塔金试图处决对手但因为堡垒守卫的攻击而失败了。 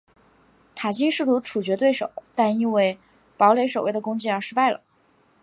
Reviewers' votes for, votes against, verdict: 2, 0, accepted